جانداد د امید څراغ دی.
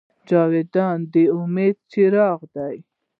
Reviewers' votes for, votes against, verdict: 1, 2, rejected